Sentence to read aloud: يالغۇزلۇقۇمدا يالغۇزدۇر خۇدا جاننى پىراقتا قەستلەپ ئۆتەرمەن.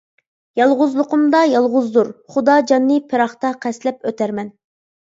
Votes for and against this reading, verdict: 2, 0, accepted